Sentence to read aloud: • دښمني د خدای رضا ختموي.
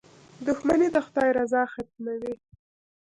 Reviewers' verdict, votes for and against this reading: rejected, 0, 2